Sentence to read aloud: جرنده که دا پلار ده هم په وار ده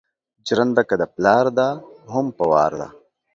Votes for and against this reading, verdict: 2, 0, accepted